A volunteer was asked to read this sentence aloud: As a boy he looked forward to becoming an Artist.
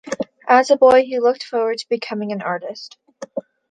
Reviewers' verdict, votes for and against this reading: accepted, 2, 0